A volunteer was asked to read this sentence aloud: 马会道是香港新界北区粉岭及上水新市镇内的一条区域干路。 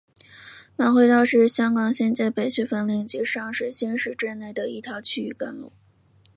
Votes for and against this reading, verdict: 3, 0, accepted